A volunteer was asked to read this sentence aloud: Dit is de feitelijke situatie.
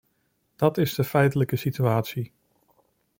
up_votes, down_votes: 1, 2